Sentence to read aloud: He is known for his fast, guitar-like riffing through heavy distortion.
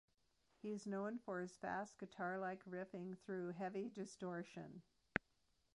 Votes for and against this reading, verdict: 1, 2, rejected